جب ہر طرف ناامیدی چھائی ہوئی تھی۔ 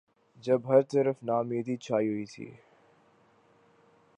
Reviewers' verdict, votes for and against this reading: accepted, 2, 0